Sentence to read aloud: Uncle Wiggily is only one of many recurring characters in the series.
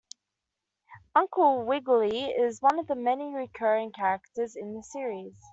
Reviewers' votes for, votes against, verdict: 2, 0, accepted